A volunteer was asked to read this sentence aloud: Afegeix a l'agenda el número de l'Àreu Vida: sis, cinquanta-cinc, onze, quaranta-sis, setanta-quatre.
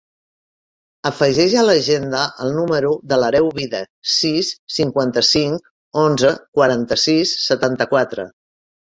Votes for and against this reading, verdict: 0, 2, rejected